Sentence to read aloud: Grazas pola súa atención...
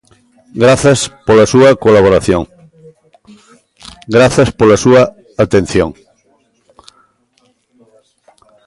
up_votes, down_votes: 0, 2